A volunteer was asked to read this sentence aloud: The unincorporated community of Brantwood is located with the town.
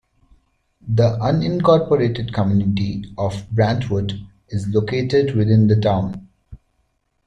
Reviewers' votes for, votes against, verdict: 3, 4, rejected